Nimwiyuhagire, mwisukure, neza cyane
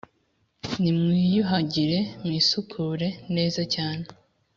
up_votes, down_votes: 2, 0